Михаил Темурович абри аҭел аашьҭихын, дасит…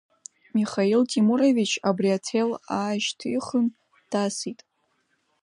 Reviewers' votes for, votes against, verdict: 2, 0, accepted